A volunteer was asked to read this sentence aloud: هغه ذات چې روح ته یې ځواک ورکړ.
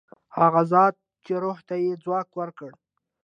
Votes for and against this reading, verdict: 2, 1, accepted